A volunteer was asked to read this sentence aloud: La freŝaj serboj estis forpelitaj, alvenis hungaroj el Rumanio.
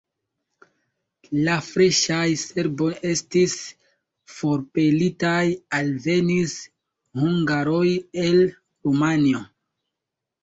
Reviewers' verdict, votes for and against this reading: rejected, 2, 3